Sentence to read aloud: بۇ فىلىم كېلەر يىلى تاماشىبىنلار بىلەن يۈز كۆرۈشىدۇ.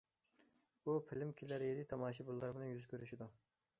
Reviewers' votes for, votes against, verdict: 0, 2, rejected